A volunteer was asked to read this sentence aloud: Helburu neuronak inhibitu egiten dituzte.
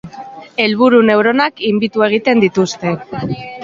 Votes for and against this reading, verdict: 2, 0, accepted